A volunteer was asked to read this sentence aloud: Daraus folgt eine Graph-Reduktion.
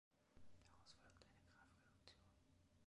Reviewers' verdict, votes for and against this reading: rejected, 1, 2